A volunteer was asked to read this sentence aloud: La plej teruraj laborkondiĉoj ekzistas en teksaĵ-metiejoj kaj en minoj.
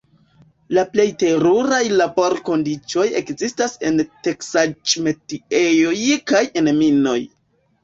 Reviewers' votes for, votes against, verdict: 2, 0, accepted